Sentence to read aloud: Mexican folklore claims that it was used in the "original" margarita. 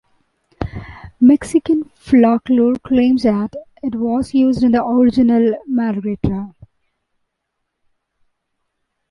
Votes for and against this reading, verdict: 0, 2, rejected